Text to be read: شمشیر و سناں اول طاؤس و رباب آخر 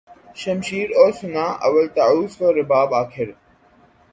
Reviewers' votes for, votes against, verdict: 0, 3, rejected